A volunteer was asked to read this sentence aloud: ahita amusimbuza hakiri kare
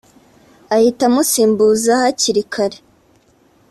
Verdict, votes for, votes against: accepted, 2, 0